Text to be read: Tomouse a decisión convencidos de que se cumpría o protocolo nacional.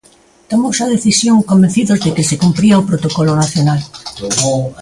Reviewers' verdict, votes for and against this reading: rejected, 0, 2